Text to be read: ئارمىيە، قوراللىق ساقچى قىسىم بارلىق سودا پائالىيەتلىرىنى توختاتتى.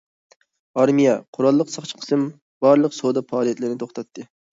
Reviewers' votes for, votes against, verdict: 2, 0, accepted